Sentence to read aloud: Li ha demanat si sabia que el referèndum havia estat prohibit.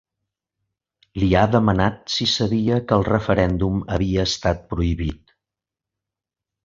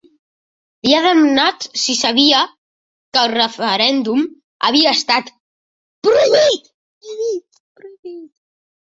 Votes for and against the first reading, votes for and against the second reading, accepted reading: 2, 0, 0, 2, first